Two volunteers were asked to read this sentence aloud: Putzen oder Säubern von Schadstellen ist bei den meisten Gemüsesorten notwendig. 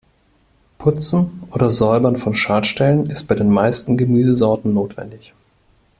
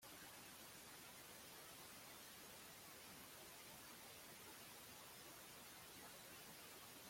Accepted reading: first